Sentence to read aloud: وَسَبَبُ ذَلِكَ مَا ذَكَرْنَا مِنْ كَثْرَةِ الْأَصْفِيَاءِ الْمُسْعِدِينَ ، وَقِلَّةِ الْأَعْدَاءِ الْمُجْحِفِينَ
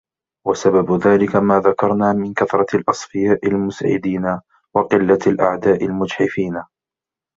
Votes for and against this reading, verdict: 2, 0, accepted